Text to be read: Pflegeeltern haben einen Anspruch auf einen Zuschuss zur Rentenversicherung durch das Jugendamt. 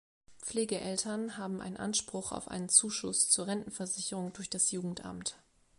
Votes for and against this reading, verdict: 1, 2, rejected